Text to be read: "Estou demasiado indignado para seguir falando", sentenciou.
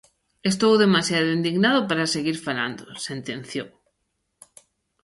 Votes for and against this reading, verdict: 1, 2, rejected